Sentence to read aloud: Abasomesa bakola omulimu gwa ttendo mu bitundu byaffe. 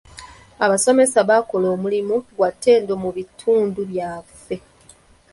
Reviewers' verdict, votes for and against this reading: rejected, 1, 2